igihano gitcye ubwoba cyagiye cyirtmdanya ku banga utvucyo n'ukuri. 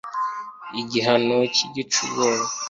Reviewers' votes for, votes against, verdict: 0, 2, rejected